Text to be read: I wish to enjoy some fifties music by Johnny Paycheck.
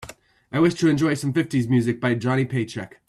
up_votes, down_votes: 2, 0